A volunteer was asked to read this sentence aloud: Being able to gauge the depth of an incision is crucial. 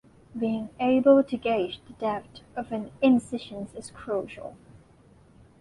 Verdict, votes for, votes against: rejected, 1, 2